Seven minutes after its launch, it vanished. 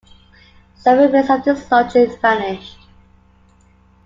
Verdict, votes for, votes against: rejected, 1, 2